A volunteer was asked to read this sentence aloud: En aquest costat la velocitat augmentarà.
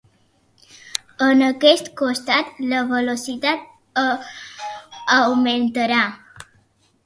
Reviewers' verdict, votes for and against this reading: rejected, 0, 2